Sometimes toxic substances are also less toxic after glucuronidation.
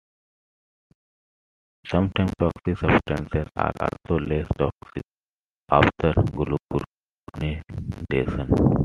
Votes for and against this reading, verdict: 1, 2, rejected